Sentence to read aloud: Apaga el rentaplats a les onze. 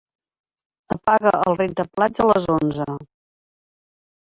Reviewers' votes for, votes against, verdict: 3, 1, accepted